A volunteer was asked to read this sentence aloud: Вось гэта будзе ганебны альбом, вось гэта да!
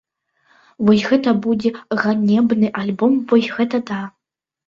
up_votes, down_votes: 2, 0